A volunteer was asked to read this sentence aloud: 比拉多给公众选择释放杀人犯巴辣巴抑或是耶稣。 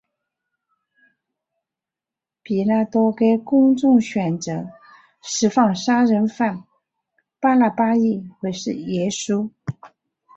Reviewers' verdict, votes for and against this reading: accepted, 2, 1